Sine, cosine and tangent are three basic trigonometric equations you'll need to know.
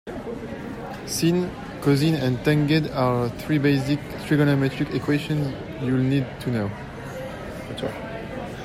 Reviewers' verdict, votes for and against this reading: rejected, 0, 2